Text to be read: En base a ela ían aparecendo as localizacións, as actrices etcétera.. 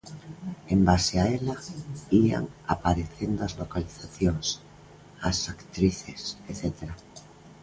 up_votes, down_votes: 3, 0